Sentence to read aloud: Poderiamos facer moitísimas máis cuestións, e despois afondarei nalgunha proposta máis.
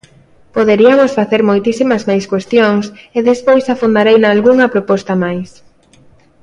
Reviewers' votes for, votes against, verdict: 0, 2, rejected